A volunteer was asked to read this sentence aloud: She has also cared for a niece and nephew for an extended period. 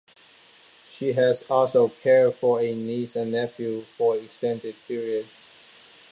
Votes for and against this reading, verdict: 2, 1, accepted